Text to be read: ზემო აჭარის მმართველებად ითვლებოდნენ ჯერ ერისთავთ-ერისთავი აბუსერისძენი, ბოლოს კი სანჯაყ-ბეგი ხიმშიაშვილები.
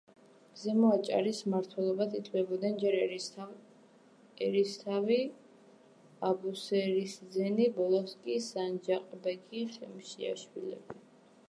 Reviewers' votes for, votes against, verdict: 1, 2, rejected